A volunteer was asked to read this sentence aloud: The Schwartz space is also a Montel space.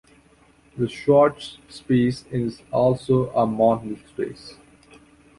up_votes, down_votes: 2, 0